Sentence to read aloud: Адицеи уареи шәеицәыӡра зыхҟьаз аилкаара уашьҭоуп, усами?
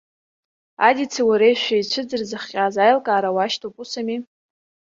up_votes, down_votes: 1, 2